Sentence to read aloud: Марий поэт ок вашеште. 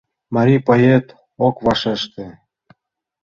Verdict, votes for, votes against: accepted, 2, 0